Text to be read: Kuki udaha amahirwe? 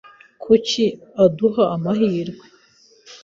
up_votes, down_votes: 1, 2